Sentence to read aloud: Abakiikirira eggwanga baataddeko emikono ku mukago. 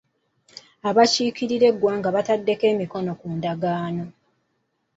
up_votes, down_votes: 0, 3